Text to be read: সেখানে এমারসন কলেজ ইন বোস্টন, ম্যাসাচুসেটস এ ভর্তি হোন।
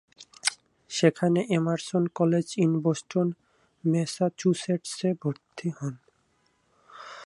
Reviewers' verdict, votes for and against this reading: accepted, 2, 0